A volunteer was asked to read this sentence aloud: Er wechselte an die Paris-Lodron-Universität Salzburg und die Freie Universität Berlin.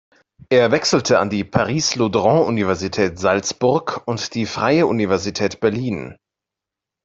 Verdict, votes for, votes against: accepted, 2, 0